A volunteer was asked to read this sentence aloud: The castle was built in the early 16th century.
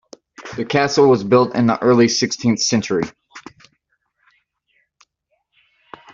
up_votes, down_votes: 0, 2